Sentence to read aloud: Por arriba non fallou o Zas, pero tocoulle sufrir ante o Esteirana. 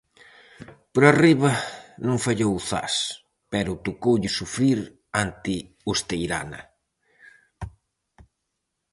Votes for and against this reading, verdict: 4, 0, accepted